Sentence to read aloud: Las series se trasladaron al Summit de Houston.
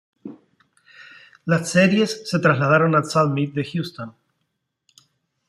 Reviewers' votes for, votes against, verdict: 2, 0, accepted